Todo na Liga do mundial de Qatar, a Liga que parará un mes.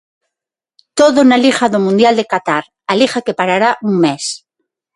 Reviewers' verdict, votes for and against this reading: accepted, 6, 0